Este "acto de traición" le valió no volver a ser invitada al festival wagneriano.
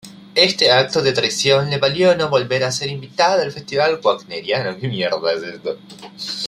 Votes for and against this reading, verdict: 1, 2, rejected